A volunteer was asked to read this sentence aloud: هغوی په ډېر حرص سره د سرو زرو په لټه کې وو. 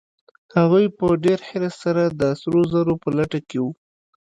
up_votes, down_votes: 2, 0